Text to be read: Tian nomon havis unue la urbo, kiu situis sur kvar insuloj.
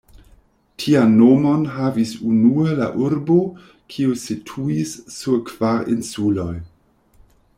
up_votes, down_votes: 2, 0